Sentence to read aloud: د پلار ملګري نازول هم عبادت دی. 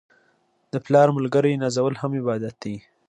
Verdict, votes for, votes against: rejected, 1, 2